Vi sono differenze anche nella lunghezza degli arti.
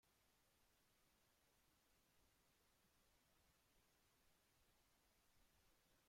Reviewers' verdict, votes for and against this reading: rejected, 0, 2